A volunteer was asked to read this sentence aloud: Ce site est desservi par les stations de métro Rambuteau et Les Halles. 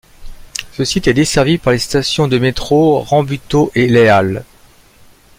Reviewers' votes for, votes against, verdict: 2, 1, accepted